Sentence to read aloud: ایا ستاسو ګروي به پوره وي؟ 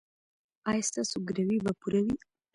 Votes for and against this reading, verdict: 0, 2, rejected